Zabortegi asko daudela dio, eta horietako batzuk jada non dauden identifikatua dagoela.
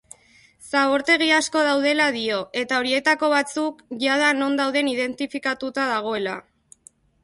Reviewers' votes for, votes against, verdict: 1, 2, rejected